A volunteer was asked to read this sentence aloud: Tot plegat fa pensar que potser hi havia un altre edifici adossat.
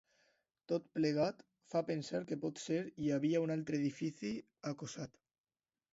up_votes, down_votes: 0, 2